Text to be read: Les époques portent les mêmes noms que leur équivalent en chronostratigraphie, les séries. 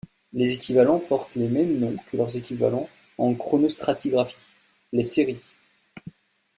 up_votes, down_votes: 0, 2